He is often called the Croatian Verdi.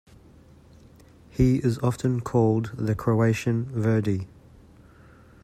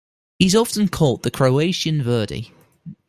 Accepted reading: first